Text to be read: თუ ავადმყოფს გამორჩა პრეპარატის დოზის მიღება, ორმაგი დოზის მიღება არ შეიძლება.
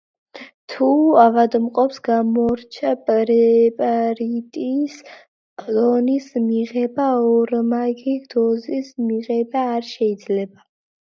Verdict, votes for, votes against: rejected, 0, 2